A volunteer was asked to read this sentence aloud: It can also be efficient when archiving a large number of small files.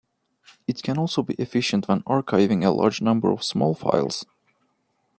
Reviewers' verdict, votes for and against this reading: accepted, 2, 1